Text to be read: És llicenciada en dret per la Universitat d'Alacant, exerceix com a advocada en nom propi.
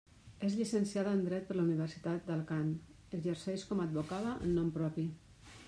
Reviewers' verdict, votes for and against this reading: rejected, 1, 2